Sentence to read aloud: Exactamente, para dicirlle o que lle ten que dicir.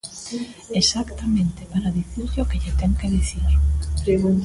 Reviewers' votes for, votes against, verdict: 0, 2, rejected